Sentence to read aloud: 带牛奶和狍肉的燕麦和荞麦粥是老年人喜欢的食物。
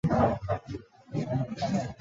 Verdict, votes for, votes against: accepted, 3, 1